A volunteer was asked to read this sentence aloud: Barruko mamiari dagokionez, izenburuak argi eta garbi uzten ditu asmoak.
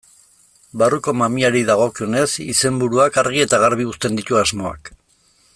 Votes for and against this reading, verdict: 1, 2, rejected